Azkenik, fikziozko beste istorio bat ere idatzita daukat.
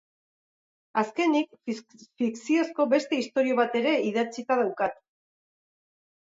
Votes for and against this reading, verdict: 2, 2, rejected